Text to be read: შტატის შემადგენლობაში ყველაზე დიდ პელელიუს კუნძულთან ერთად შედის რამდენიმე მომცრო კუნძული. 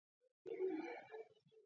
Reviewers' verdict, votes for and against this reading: rejected, 0, 2